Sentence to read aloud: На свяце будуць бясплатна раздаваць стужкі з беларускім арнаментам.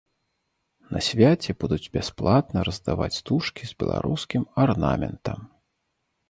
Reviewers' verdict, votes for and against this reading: accepted, 2, 0